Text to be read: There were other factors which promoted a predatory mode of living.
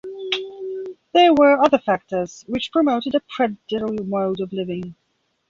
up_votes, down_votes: 1, 2